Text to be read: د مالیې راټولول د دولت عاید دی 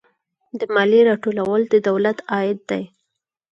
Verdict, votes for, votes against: accepted, 6, 0